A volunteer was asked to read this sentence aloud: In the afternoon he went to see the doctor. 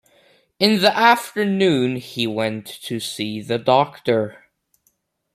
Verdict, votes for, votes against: accepted, 2, 0